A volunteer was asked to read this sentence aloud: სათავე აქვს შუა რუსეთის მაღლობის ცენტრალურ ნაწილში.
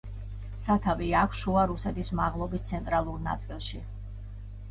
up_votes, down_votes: 2, 0